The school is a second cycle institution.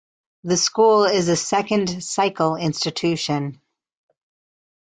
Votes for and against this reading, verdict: 2, 0, accepted